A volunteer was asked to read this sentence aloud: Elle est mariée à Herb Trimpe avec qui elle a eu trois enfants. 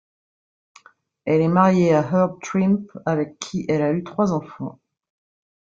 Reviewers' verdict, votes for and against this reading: rejected, 1, 2